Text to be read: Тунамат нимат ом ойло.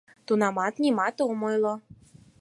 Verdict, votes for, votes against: accepted, 4, 0